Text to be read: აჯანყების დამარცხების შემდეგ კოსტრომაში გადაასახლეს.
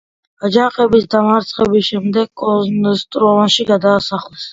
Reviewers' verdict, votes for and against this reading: accepted, 2, 0